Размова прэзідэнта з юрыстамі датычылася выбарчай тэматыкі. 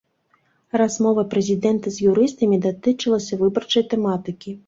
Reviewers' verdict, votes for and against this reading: accepted, 2, 0